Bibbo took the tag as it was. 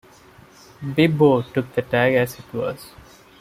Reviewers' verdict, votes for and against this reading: accepted, 2, 0